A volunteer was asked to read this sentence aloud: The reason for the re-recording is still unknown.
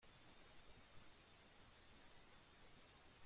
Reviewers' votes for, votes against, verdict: 0, 2, rejected